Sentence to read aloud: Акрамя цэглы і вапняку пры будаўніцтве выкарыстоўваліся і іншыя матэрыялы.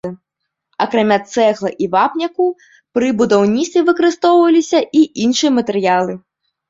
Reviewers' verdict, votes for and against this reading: rejected, 1, 2